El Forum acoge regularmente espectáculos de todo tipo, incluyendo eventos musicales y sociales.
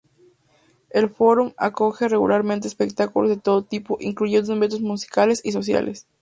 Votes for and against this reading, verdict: 2, 0, accepted